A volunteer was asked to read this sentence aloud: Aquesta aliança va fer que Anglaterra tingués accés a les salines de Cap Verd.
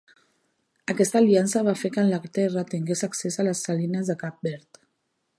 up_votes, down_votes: 1, 2